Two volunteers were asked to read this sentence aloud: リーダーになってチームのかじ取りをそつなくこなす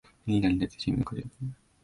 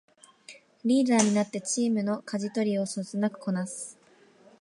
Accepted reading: second